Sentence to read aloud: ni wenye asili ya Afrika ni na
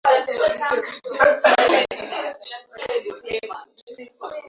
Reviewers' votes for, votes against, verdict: 0, 2, rejected